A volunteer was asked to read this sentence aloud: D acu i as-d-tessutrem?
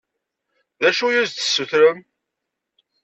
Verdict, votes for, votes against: accepted, 2, 0